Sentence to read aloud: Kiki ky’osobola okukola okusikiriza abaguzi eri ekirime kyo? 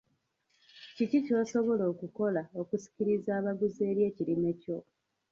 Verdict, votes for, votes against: rejected, 0, 2